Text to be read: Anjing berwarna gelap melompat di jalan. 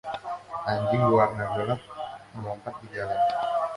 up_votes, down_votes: 2, 0